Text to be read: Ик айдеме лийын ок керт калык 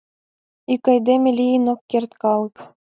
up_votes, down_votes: 2, 0